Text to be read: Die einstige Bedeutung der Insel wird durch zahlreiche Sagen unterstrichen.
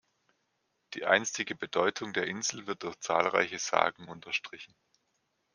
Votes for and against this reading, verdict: 2, 0, accepted